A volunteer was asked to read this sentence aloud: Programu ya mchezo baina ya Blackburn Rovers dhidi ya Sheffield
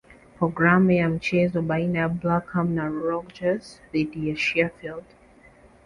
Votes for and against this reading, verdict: 1, 2, rejected